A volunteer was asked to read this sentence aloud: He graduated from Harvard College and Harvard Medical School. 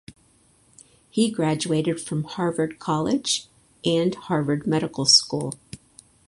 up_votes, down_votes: 4, 0